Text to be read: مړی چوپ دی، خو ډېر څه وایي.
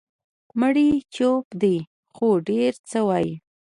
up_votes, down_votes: 2, 0